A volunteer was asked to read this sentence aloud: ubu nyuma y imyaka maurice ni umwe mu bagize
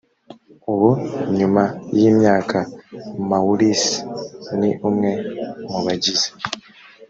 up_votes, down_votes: 0, 2